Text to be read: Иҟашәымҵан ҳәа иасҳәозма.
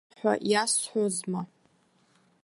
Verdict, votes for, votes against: rejected, 0, 2